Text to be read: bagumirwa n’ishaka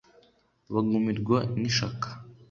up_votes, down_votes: 2, 0